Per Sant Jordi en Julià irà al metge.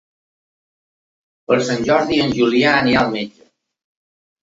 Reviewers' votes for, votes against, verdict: 1, 2, rejected